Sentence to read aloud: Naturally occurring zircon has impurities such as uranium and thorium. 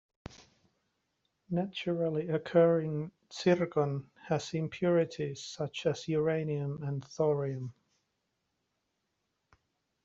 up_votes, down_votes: 2, 1